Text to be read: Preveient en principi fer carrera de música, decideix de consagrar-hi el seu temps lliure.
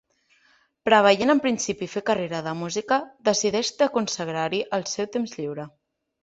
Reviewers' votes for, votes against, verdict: 2, 0, accepted